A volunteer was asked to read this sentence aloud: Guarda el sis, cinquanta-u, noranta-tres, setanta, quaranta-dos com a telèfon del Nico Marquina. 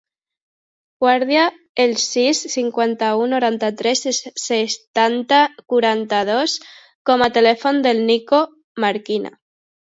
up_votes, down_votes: 0, 2